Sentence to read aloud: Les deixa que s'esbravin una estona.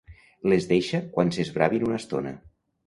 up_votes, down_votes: 1, 2